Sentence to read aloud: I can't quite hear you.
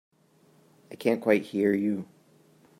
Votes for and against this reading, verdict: 2, 0, accepted